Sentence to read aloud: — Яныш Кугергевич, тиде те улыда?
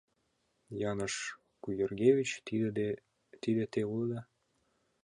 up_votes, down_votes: 0, 2